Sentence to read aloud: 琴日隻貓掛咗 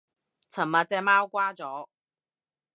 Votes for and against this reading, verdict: 1, 2, rejected